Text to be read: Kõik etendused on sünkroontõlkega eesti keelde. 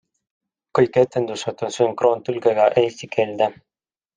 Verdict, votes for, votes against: accepted, 2, 0